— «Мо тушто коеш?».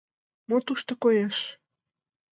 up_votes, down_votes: 2, 0